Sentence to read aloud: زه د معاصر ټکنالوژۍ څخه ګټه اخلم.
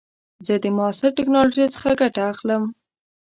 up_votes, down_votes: 2, 0